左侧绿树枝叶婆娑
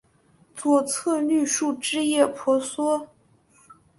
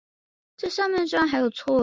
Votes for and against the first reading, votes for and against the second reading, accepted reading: 2, 0, 0, 3, first